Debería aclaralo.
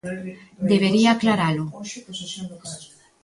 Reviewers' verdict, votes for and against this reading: rejected, 0, 2